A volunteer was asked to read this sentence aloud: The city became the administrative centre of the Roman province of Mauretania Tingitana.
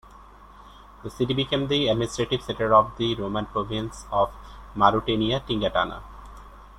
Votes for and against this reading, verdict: 2, 1, accepted